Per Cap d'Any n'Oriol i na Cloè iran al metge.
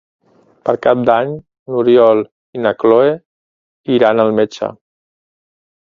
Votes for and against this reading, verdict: 1, 2, rejected